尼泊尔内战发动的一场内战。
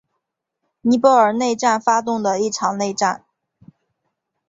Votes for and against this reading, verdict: 2, 2, rejected